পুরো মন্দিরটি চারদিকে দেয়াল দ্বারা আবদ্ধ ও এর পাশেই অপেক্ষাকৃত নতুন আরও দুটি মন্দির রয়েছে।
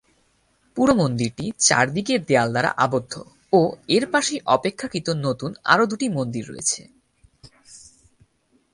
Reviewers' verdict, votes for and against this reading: accepted, 4, 0